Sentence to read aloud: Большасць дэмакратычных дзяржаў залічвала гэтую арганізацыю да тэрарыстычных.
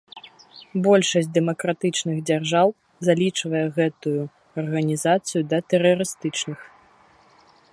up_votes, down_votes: 1, 2